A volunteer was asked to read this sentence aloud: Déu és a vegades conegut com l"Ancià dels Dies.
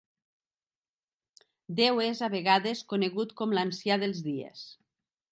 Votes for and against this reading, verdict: 2, 0, accepted